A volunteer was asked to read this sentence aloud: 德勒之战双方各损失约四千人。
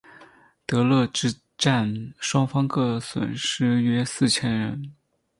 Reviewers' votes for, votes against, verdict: 0, 4, rejected